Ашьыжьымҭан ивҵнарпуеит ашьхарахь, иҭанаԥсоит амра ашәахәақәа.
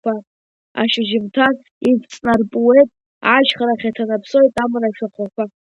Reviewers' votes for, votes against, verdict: 1, 2, rejected